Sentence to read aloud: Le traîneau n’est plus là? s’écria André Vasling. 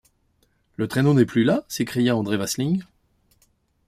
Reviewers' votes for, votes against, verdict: 2, 0, accepted